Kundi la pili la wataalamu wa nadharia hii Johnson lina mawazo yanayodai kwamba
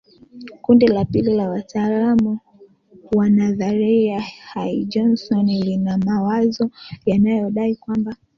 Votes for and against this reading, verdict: 1, 2, rejected